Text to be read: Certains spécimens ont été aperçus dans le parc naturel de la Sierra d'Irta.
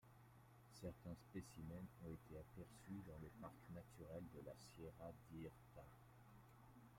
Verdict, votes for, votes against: accepted, 2, 0